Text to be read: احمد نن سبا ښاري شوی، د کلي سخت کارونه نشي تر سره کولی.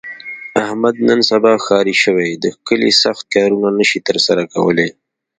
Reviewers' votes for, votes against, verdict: 1, 2, rejected